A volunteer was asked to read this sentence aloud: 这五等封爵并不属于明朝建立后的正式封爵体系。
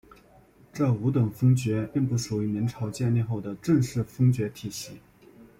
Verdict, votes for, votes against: accepted, 2, 0